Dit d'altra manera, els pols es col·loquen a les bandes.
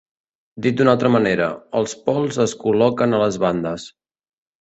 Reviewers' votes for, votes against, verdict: 1, 2, rejected